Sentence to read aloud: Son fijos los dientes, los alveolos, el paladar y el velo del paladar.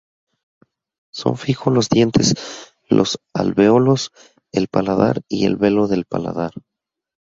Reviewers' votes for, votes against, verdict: 0, 4, rejected